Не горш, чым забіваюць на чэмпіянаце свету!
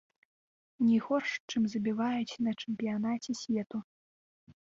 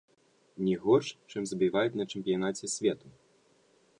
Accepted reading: second